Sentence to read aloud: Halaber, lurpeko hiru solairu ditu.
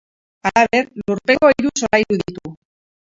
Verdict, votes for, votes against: rejected, 0, 2